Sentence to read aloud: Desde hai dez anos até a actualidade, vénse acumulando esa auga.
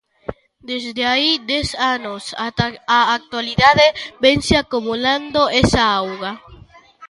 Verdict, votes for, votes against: rejected, 0, 2